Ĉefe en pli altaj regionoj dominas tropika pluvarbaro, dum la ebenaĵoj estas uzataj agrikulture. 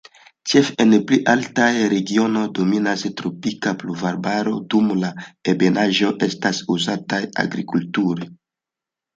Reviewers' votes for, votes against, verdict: 0, 2, rejected